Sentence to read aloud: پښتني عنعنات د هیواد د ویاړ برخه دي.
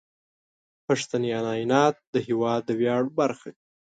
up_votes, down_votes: 1, 2